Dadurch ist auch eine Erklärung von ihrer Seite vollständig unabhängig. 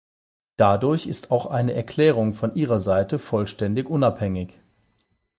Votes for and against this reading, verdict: 8, 0, accepted